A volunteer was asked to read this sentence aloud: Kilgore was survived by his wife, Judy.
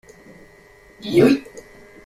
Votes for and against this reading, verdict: 0, 2, rejected